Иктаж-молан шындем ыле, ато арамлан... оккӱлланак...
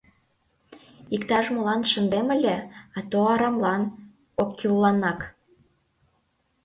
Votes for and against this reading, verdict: 2, 0, accepted